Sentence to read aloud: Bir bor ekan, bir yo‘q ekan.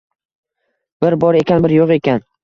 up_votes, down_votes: 2, 0